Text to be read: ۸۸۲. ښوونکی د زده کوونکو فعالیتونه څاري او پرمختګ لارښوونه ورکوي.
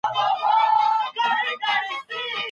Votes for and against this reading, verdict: 0, 2, rejected